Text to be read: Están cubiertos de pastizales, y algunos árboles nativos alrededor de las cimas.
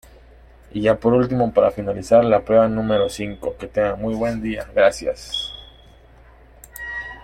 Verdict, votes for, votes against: rejected, 0, 2